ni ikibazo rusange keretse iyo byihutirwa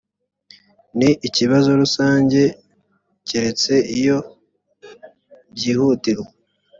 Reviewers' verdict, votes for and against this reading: accepted, 2, 0